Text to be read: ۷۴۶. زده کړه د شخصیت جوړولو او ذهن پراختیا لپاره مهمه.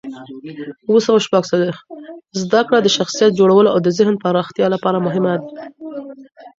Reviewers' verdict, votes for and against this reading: rejected, 0, 2